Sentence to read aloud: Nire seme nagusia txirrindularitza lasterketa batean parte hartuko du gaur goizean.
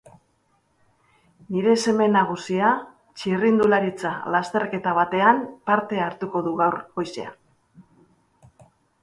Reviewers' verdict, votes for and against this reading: accepted, 3, 0